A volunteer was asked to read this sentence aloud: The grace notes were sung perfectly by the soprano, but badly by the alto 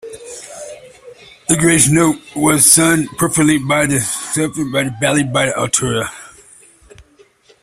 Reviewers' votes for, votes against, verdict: 0, 2, rejected